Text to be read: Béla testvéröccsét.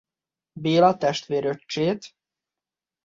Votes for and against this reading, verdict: 2, 0, accepted